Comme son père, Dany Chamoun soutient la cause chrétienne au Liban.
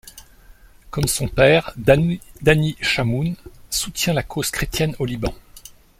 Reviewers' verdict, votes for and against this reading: rejected, 0, 2